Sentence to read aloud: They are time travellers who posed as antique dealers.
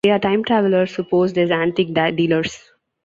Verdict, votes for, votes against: rejected, 0, 2